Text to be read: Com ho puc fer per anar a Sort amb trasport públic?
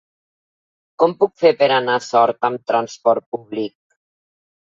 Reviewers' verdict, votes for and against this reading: rejected, 1, 2